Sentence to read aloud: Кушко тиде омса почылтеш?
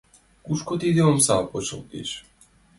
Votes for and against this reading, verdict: 2, 0, accepted